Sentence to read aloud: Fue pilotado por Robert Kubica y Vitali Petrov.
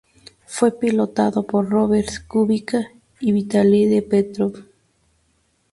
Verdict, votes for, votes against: rejected, 0, 2